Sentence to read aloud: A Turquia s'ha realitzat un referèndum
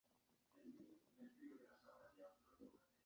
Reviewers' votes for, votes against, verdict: 0, 2, rejected